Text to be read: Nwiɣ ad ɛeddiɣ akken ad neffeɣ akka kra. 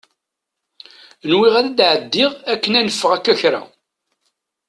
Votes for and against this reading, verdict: 0, 2, rejected